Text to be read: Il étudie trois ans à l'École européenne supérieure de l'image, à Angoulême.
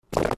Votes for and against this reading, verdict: 0, 2, rejected